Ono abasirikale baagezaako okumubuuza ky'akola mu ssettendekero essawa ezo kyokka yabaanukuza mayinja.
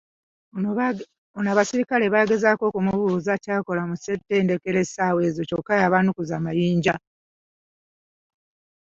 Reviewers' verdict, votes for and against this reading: accepted, 2, 0